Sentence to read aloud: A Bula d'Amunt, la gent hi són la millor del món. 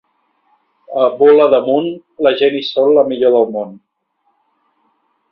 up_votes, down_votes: 2, 1